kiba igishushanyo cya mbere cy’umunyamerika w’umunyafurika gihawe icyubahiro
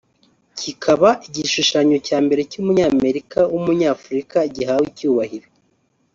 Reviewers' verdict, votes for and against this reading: rejected, 0, 2